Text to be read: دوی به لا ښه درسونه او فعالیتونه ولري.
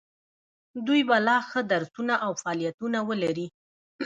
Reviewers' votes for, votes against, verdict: 0, 2, rejected